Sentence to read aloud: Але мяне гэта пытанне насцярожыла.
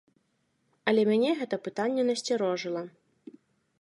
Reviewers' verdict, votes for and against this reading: accepted, 2, 0